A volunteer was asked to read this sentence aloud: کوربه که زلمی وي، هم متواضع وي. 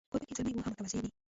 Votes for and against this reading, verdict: 2, 0, accepted